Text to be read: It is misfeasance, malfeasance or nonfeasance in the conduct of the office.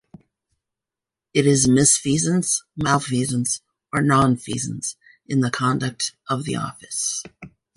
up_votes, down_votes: 2, 1